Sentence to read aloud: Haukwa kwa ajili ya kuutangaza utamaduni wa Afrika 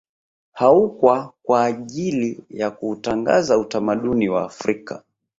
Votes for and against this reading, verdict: 3, 1, accepted